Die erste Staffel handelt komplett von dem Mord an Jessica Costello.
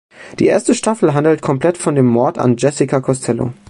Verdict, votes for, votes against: accepted, 2, 0